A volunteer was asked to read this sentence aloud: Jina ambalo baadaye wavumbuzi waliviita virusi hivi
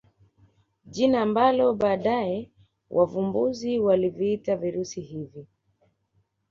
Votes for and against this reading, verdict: 2, 1, accepted